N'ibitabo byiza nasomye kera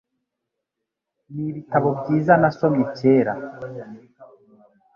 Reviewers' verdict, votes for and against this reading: accepted, 2, 0